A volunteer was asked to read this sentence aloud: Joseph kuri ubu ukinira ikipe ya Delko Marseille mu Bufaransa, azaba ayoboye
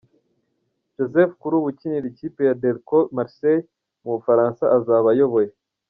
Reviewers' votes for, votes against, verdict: 2, 0, accepted